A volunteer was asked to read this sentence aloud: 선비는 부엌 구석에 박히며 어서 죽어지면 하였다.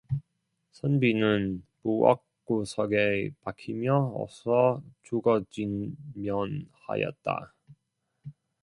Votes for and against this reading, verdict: 0, 2, rejected